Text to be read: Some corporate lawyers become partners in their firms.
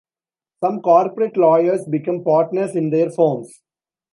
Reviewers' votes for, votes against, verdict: 2, 0, accepted